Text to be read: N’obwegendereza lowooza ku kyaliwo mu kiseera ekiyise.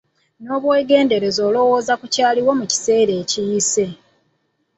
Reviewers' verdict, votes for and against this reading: rejected, 1, 2